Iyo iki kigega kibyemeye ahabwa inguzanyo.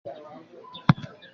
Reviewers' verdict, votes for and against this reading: rejected, 0, 2